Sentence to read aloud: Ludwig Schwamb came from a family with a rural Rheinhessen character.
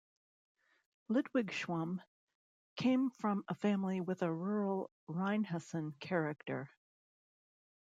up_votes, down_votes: 0, 2